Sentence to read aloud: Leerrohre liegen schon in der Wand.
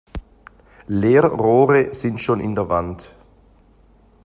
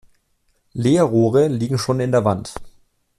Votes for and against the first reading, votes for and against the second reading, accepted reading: 0, 2, 2, 0, second